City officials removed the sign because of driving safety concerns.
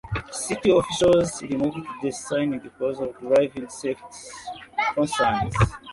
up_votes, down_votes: 0, 2